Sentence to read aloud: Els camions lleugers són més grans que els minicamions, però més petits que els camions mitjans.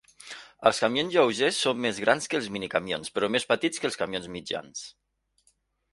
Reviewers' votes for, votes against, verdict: 2, 0, accepted